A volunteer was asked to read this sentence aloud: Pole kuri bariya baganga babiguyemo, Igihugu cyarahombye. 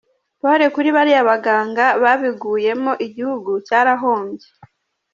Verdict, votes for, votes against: accepted, 2, 0